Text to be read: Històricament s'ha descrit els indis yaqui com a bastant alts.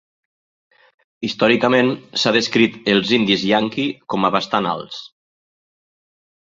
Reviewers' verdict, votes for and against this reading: rejected, 1, 2